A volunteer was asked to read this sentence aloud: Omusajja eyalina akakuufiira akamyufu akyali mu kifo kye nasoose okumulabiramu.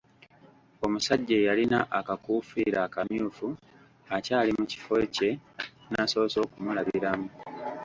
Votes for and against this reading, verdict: 1, 2, rejected